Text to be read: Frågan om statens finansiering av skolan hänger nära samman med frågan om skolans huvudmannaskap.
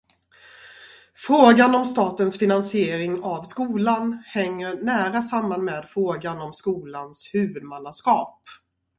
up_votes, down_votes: 0, 2